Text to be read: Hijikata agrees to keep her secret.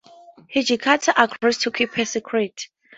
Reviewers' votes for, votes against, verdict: 0, 2, rejected